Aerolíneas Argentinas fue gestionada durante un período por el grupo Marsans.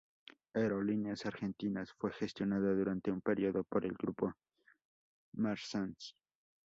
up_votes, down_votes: 2, 4